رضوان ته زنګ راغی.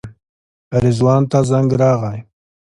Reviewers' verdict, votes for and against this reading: accepted, 2, 0